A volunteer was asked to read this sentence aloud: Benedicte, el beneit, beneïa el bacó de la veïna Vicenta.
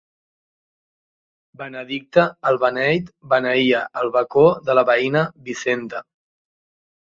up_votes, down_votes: 2, 0